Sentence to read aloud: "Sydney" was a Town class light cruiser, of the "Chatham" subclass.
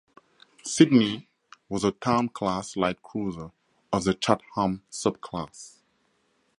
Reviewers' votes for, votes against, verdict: 0, 2, rejected